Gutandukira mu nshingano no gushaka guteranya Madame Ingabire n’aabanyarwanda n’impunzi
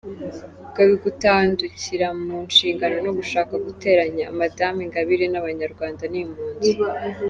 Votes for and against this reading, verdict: 1, 2, rejected